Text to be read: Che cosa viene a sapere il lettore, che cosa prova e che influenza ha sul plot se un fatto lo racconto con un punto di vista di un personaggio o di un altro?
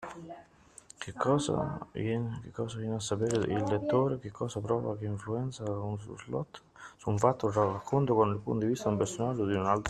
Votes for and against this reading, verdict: 0, 2, rejected